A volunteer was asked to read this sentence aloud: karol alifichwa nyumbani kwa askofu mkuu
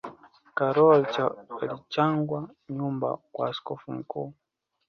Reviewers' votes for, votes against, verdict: 1, 3, rejected